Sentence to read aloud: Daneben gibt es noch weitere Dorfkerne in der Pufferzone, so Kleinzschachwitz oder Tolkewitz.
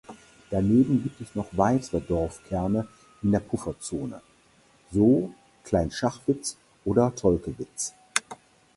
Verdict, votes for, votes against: rejected, 2, 4